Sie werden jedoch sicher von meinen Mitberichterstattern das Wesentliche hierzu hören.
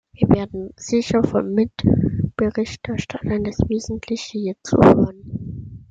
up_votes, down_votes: 0, 2